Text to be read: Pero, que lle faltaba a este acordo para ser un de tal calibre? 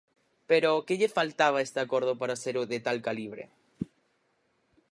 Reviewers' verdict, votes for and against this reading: rejected, 2, 4